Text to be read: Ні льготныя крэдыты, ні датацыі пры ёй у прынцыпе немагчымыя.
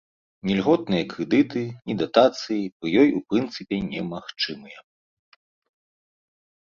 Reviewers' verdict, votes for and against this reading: rejected, 1, 2